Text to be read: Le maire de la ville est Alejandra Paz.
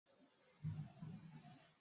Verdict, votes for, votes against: rejected, 0, 2